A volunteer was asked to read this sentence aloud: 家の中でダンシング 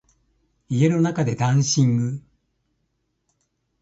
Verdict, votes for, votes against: rejected, 1, 2